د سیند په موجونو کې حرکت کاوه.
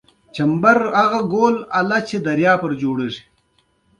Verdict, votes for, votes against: accepted, 2, 0